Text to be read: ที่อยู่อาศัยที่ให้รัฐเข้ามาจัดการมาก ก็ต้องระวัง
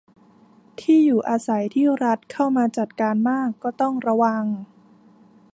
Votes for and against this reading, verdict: 1, 2, rejected